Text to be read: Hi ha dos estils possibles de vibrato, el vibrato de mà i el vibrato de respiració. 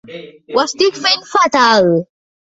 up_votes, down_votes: 0, 2